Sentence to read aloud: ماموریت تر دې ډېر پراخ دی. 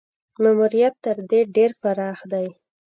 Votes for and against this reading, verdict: 2, 0, accepted